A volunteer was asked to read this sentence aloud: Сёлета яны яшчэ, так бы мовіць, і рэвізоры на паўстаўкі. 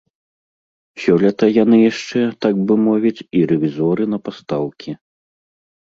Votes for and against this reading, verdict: 0, 2, rejected